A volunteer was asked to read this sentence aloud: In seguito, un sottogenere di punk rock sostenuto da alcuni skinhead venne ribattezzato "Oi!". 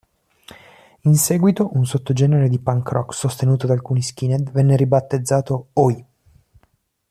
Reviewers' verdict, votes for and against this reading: accepted, 2, 0